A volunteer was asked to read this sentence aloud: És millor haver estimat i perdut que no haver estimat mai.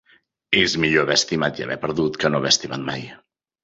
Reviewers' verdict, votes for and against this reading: rejected, 0, 2